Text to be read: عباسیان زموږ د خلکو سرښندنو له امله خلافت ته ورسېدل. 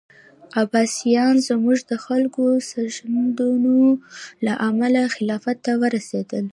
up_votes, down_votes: 2, 0